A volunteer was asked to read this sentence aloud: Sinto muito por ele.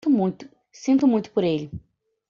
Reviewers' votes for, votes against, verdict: 1, 2, rejected